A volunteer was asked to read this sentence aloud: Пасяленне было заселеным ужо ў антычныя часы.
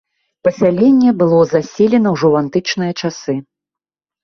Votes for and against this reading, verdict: 1, 2, rejected